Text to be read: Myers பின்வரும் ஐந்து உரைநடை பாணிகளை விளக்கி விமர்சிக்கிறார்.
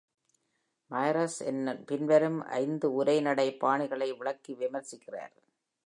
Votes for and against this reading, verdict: 0, 2, rejected